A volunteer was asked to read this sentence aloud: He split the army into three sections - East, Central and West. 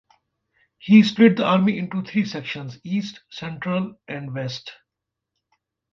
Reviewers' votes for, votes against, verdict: 2, 0, accepted